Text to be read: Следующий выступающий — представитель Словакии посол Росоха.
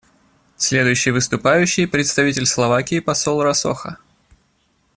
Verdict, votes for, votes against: accepted, 2, 0